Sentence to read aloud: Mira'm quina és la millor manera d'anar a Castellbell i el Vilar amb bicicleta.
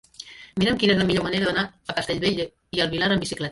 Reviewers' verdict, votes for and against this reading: rejected, 1, 2